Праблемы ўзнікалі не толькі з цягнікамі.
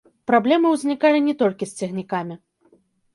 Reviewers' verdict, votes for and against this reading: rejected, 1, 2